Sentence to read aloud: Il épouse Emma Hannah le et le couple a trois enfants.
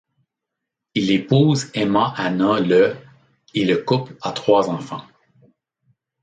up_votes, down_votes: 2, 0